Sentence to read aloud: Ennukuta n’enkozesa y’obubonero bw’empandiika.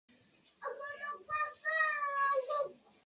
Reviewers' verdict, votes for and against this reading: rejected, 0, 2